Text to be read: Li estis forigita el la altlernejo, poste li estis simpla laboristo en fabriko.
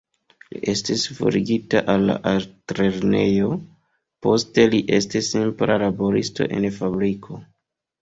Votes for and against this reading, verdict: 2, 3, rejected